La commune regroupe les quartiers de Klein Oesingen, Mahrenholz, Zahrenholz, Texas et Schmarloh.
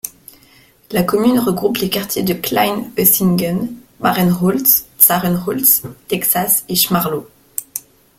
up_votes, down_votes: 2, 0